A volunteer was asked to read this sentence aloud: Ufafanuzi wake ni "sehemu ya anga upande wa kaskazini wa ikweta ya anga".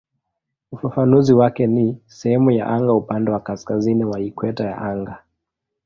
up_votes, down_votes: 2, 0